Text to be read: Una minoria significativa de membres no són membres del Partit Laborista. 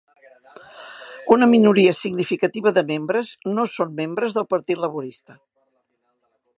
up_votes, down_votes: 3, 0